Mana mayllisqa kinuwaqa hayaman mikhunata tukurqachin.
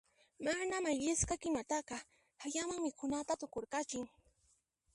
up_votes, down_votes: 1, 2